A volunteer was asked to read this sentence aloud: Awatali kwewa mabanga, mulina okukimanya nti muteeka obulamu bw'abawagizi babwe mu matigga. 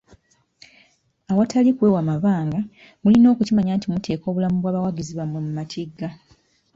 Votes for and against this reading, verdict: 0, 2, rejected